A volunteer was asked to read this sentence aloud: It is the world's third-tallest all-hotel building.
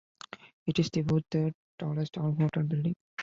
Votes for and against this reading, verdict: 0, 2, rejected